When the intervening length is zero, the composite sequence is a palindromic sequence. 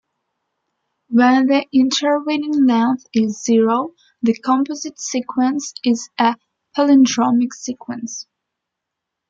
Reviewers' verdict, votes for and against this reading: accepted, 2, 1